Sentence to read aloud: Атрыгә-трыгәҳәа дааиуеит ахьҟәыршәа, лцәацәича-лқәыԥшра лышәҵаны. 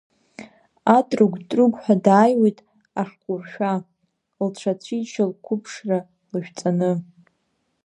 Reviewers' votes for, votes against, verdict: 0, 2, rejected